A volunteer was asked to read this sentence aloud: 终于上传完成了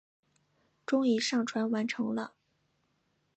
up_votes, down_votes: 2, 0